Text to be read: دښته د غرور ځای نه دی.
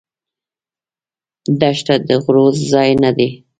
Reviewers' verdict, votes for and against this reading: rejected, 1, 2